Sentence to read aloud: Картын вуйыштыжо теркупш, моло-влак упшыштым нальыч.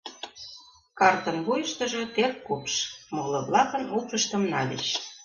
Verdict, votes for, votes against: accepted, 2, 1